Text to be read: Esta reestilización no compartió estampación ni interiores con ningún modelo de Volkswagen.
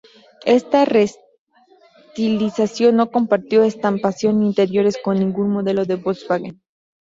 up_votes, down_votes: 2, 0